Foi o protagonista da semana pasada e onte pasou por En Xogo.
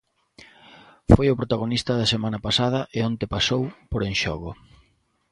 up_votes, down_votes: 2, 0